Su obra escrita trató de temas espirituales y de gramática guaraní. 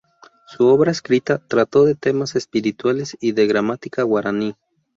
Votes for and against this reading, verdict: 0, 2, rejected